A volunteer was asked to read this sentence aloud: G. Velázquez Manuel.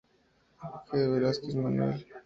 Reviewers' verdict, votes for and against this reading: rejected, 0, 2